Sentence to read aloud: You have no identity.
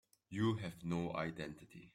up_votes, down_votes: 2, 0